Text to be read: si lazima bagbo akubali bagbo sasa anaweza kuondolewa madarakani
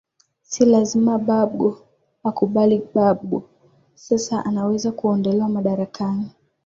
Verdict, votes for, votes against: accepted, 2, 0